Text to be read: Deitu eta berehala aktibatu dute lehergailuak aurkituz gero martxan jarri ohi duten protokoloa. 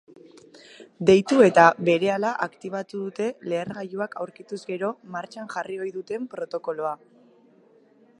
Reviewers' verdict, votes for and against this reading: accepted, 2, 0